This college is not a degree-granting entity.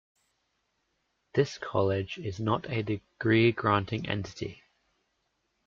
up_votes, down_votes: 2, 0